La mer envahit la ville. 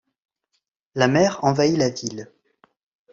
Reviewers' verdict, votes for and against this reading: accepted, 2, 0